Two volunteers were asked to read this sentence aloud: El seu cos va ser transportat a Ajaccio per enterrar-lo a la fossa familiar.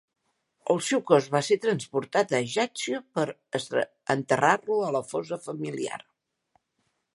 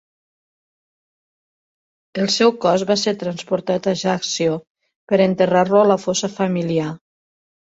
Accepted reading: second